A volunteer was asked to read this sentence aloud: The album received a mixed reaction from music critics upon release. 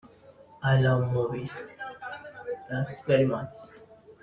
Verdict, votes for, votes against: rejected, 0, 2